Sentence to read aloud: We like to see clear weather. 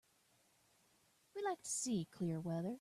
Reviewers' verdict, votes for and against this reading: accepted, 2, 0